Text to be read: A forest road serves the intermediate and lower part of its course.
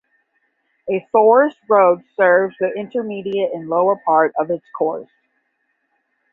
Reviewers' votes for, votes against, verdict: 10, 5, accepted